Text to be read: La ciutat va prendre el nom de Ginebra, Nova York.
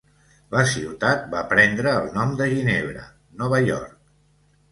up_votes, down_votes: 2, 0